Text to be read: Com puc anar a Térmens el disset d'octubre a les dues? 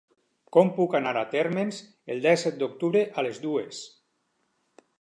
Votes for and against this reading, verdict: 0, 4, rejected